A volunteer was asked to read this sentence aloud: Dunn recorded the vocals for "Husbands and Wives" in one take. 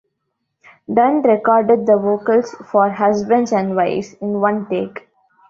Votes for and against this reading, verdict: 2, 0, accepted